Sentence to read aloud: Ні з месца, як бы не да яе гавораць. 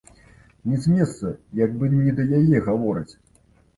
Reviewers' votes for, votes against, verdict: 2, 0, accepted